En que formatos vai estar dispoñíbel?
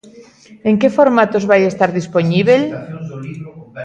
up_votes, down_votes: 1, 2